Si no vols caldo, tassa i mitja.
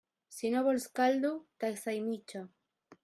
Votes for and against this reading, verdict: 0, 2, rejected